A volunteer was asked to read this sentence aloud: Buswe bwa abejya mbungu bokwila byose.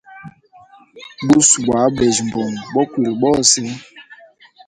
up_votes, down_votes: 1, 2